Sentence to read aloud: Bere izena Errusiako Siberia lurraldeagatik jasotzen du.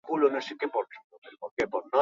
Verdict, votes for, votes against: rejected, 0, 2